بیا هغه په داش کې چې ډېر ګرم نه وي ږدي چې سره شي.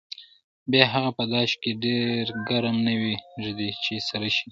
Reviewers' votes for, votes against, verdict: 1, 2, rejected